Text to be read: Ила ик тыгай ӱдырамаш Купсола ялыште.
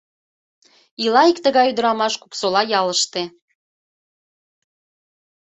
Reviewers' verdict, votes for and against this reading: accepted, 2, 0